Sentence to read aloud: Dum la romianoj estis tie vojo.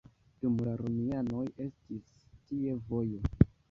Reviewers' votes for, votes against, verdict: 1, 2, rejected